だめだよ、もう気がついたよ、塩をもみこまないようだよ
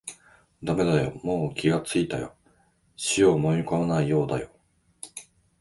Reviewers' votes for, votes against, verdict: 2, 1, accepted